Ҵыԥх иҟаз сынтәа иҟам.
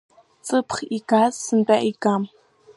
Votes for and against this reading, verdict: 0, 2, rejected